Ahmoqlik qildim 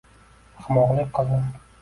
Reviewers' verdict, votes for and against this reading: accepted, 2, 1